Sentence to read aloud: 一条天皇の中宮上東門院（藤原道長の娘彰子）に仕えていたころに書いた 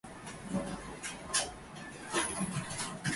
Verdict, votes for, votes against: rejected, 1, 8